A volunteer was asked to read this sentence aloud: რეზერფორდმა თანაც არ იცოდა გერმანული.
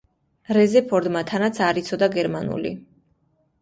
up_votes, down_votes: 2, 0